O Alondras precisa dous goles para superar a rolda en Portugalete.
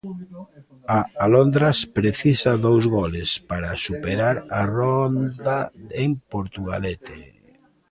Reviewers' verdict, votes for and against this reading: rejected, 0, 2